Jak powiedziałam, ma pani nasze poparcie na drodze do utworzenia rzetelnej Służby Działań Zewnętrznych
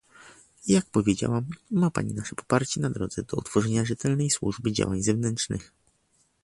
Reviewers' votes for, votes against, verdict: 1, 2, rejected